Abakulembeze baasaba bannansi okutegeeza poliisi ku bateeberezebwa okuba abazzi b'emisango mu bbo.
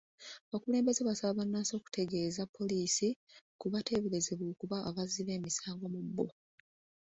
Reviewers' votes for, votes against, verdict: 2, 1, accepted